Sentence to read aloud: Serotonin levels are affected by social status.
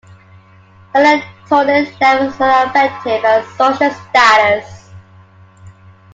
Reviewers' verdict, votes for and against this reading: accepted, 2, 0